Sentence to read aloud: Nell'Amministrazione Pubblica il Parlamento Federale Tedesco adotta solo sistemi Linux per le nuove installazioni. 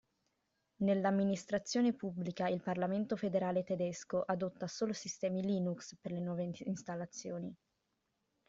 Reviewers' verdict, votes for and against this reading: rejected, 1, 2